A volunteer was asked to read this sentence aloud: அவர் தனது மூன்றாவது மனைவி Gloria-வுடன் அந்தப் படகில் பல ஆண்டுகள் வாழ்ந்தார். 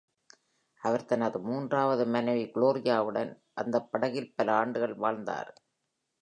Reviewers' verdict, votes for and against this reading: accepted, 2, 0